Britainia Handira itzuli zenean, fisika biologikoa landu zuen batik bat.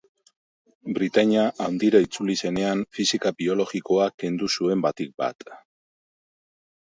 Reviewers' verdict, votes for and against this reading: rejected, 0, 2